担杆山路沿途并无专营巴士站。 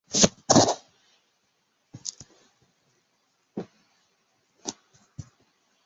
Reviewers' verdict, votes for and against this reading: rejected, 1, 2